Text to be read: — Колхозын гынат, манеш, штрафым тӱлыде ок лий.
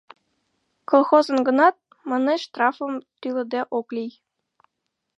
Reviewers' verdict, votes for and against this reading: accepted, 2, 0